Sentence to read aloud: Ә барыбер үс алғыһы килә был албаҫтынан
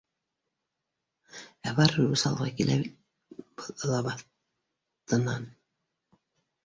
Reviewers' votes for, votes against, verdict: 0, 2, rejected